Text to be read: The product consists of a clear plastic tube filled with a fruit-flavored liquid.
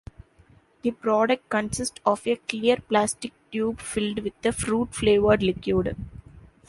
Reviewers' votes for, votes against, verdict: 1, 2, rejected